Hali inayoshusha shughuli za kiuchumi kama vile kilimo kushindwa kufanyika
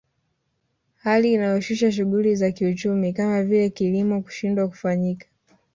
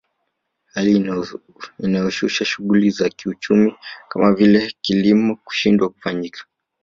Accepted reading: first